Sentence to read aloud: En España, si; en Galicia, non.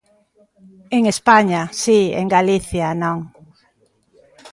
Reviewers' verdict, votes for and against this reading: accepted, 2, 0